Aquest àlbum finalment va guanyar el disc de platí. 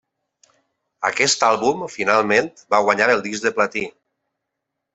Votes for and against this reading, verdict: 3, 0, accepted